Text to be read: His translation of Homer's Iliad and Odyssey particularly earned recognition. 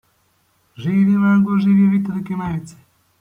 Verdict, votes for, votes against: rejected, 0, 2